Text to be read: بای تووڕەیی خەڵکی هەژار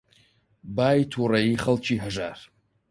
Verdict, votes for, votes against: accepted, 4, 0